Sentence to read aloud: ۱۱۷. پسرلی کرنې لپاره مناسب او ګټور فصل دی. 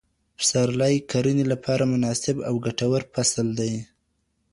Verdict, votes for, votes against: rejected, 0, 2